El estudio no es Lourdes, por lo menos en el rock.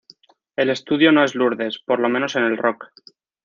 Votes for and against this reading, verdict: 2, 0, accepted